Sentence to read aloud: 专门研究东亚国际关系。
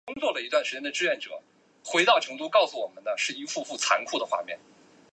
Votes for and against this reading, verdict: 0, 2, rejected